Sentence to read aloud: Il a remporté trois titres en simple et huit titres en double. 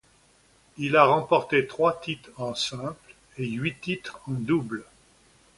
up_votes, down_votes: 2, 0